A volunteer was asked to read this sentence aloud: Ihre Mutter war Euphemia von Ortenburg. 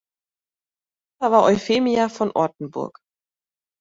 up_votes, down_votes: 0, 2